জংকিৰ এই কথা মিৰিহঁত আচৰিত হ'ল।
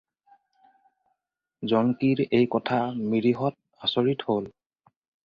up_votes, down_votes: 4, 0